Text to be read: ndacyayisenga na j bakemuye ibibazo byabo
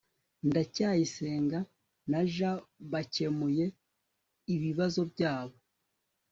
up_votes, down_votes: 2, 0